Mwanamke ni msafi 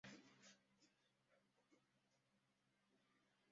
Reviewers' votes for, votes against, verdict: 0, 2, rejected